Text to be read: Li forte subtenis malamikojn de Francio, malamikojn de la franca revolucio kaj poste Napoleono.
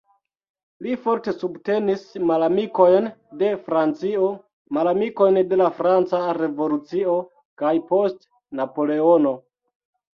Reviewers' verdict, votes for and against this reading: rejected, 1, 2